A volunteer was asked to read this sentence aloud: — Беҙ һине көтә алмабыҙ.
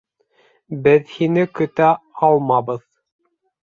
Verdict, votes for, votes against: accepted, 3, 0